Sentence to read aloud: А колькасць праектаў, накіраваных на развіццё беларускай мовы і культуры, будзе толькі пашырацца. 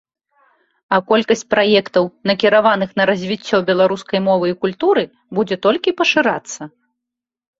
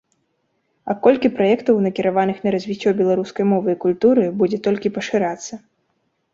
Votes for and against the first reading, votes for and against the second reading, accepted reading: 2, 0, 0, 2, first